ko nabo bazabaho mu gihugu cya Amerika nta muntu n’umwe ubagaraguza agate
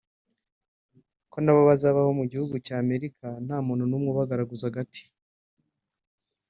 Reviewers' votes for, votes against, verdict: 0, 2, rejected